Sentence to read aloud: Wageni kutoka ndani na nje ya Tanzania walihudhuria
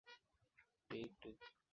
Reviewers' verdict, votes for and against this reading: rejected, 0, 11